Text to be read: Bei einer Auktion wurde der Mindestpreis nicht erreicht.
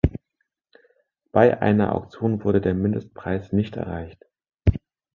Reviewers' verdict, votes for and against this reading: rejected, 1, 2